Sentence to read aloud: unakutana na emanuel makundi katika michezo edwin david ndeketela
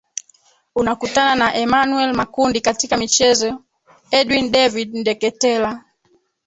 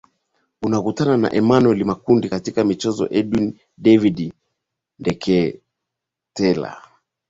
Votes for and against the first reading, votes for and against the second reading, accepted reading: 2, 3, 9, 2, second